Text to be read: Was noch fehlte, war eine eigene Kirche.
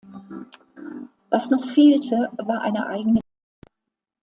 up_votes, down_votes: 0, 2